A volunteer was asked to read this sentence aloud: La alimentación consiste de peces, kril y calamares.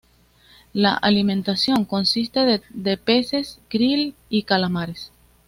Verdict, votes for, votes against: accepted, 2, 0